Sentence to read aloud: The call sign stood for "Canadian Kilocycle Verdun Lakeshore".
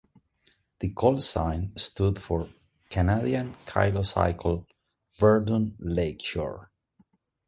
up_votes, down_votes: 1, 2